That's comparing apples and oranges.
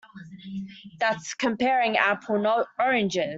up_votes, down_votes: 0, 2